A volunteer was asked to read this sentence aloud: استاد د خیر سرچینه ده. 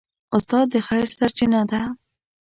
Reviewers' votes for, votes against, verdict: 2, 0, accepted